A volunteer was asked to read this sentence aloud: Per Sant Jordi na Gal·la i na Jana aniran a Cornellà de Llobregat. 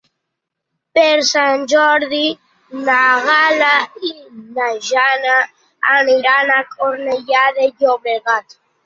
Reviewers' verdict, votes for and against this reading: accepted, 4, 0